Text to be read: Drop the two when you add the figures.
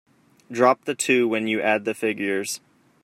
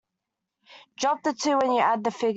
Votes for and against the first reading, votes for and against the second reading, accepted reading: 2, 0, 0, 2, first